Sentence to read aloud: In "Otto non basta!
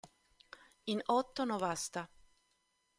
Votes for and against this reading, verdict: 0, 2, rejected